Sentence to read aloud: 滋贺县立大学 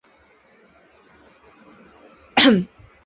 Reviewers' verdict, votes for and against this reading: rejected, 1, 2